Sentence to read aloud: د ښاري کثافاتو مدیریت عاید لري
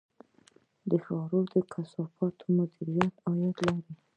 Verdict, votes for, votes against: accepted, 2, 0